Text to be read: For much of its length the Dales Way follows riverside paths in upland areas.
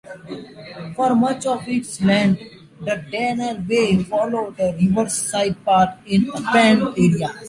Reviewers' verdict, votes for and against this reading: rejected, 0, 2